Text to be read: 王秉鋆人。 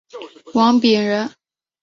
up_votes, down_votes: 0, 2